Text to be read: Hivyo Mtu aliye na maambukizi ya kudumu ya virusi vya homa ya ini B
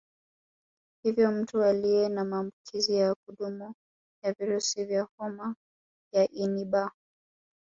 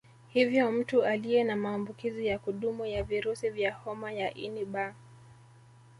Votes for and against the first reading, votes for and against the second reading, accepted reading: 3, 2, 1, 2, first